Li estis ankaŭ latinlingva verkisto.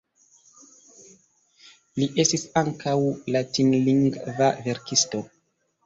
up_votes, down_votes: 1, 2